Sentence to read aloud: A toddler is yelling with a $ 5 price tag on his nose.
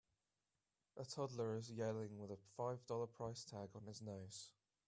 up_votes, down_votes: 0, 2